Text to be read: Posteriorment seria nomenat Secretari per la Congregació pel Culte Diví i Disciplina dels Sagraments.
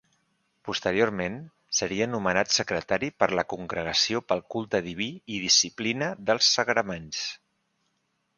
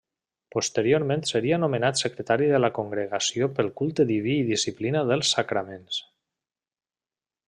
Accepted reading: first